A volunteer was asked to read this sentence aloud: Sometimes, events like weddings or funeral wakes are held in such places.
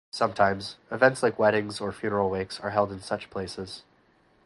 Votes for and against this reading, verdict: 2, 2, rejected